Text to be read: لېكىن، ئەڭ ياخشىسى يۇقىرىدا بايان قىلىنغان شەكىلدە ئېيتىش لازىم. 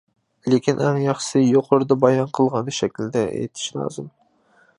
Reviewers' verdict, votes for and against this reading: rejected, 0, 2